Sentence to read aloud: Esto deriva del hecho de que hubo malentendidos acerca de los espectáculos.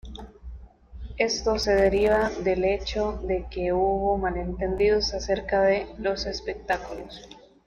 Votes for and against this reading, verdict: 0, 2, rejected